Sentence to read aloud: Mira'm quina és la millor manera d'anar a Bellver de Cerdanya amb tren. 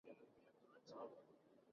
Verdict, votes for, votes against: rejected, 0, 4